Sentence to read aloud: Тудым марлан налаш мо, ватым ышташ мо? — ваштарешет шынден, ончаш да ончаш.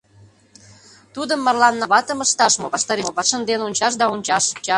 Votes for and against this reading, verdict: 0, 2, rejected